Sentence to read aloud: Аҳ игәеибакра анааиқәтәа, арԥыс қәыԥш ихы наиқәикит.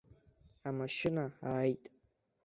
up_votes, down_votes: 0, 2